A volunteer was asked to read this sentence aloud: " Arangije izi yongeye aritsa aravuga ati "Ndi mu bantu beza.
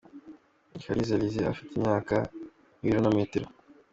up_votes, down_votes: 0, 2